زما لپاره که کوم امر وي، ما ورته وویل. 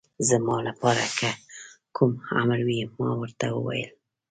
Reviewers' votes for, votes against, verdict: 2, 0, accepted